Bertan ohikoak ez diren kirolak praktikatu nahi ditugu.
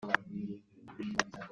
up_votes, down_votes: 0, 2